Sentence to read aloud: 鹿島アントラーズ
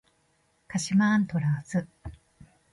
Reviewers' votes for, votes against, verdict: 2, 0, accepted